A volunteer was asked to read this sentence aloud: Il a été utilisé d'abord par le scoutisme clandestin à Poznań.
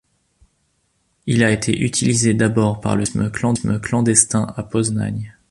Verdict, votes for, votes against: rejected, 1, 2